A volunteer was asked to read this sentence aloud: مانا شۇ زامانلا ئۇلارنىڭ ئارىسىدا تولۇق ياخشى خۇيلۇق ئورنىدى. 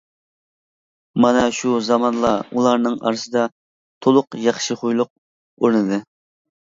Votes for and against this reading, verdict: 2, 0, accepted